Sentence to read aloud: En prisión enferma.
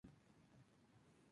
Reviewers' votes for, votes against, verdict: 0, 2, rejected